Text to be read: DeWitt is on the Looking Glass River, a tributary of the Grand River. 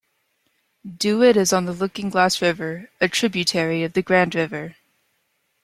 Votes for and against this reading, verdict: 0, 2, rejected